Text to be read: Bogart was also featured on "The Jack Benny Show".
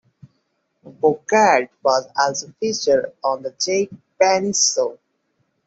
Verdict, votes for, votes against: rejected, 1, 2